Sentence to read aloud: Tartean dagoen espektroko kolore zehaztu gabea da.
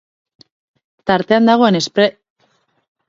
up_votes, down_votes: 0, 4